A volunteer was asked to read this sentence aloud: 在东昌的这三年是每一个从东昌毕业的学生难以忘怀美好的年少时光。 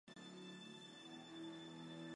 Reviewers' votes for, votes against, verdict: 0, 3, rejected